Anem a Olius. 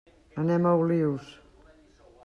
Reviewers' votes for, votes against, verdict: 3, 0, accepted